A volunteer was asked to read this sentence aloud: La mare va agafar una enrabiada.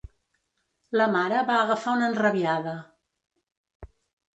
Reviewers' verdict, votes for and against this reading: accepted, 2, 0